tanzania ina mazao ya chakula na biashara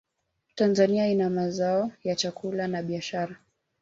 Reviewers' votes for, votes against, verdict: 2, 0, accepted